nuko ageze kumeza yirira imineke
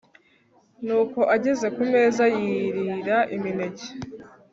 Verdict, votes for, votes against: accepted, 2, 0